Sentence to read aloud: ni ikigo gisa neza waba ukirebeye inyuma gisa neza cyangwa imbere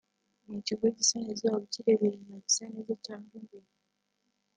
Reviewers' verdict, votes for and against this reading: rejected, 0, 2